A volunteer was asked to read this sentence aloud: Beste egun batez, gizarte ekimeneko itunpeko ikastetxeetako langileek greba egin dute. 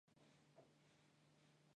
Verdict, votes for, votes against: rejected, 0, 2